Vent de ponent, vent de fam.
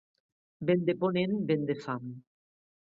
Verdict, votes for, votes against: accepted, 2, 0